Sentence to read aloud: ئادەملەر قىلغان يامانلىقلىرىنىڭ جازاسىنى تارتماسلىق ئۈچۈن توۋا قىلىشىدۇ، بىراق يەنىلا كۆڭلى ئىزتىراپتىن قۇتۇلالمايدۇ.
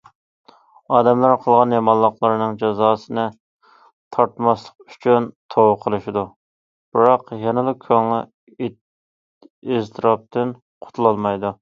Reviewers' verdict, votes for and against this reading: rejected, 0, 2